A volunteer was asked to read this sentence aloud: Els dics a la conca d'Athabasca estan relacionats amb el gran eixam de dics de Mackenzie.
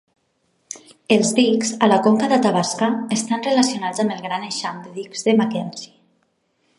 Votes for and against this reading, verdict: 2, 1, accepted